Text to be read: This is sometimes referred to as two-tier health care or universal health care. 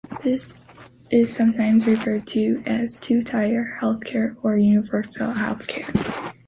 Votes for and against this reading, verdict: 1, 2, rejected